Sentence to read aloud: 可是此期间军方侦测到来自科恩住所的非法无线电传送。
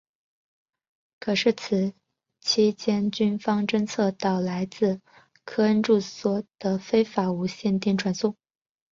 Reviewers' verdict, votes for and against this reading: accepted, 4, 0